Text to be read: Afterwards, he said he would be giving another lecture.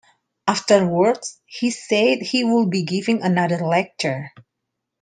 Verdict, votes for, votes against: accepted, 2, 0